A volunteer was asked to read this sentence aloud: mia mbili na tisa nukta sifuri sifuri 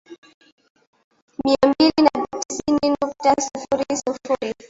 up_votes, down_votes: 0, 2